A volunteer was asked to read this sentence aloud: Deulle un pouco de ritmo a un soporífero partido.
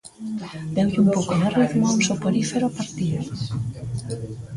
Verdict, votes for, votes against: rejected, 1, 2